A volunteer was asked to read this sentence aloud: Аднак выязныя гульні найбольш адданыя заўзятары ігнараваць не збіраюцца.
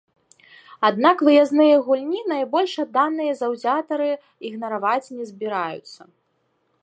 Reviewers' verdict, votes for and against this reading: rejected, 1, 2